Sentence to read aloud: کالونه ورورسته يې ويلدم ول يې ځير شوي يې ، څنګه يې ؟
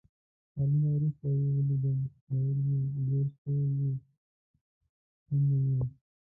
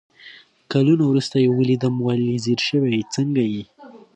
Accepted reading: second